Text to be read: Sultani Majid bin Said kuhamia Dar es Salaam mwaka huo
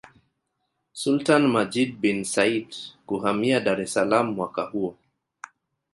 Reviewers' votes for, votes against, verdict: 0, 2, rejected